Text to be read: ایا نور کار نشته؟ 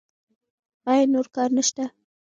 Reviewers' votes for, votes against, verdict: 0, 2, rejected